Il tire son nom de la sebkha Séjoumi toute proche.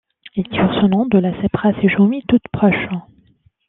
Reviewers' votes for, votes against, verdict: 2, 0, accepted